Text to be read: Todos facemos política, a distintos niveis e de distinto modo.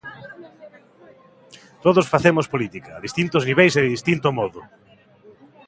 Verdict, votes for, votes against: accepted, 2, 0